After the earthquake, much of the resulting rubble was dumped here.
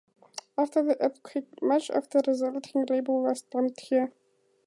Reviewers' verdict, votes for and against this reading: accepted, 4, 0